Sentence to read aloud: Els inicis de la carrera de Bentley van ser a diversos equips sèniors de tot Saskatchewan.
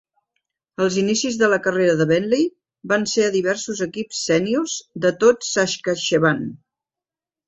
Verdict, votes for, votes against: accepted, 2, 1